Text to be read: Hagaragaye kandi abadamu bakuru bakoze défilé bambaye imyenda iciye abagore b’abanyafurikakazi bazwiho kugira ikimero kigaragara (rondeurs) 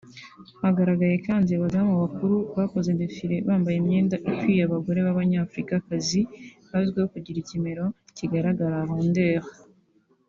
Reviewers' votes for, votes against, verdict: 2, 1, accepted